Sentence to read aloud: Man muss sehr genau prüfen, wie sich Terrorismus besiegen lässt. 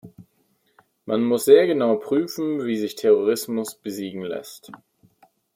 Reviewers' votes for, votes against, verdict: 2, 0, accepted